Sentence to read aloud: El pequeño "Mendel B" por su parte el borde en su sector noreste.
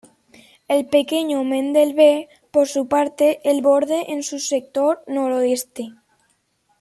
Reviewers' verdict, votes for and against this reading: rejected, 1, 2